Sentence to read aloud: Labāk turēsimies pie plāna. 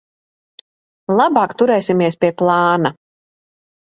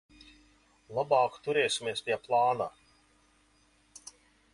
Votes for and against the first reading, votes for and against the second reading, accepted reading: 3, 0, 1, 2, first